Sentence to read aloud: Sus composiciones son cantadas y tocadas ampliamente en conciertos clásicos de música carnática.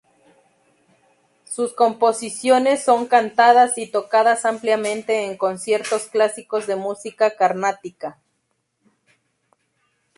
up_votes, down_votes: 2, 0